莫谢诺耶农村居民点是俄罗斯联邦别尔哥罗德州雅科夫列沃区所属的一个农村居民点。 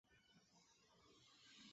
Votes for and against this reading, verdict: 0, 5, rejected